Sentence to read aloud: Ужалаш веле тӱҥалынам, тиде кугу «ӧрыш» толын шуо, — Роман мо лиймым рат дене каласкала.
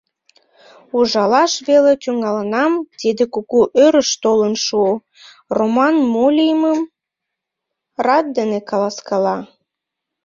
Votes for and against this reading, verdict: 3, 0, accepted